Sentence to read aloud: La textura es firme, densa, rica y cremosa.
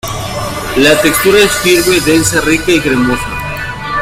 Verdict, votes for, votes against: rejected, 1, 2